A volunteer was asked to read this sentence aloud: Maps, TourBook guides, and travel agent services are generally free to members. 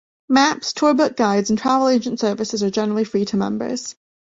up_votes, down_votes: 2, 0